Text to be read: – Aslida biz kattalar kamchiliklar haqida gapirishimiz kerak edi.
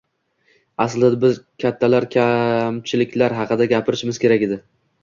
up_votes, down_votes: 2, 1